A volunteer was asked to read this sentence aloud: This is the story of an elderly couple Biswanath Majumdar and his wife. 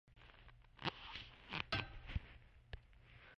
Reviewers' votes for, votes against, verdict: 0, 2, rejected